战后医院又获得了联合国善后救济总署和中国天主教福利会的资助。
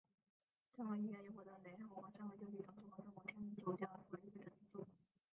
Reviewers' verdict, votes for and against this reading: rejected, 0, 4